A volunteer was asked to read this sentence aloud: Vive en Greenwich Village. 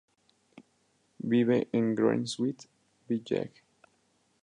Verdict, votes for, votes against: rejected, 0, 2